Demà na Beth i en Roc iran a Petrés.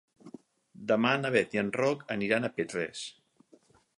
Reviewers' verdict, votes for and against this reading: rejected, 2, 4